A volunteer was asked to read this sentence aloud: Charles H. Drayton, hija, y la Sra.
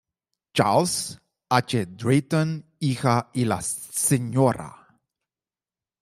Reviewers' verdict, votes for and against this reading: rejected, 1, 2